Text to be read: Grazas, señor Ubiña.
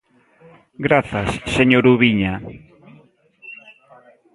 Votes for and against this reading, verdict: 2, 0, accepted